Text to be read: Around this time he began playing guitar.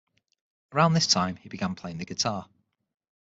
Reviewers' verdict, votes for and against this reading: rejected, 3, 6